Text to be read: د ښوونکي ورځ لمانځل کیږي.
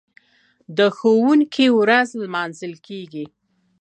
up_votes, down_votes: 2, 0